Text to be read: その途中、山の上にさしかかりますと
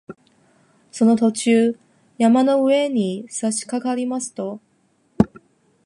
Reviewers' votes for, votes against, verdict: 0, 4, rejected